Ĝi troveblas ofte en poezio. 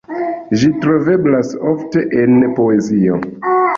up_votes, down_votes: 2, 0